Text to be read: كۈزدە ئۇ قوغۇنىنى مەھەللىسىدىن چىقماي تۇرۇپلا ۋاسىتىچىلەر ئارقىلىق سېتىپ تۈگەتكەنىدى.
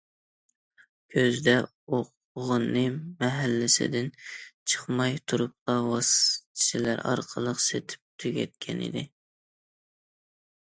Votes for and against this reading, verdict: 0, 2, rejected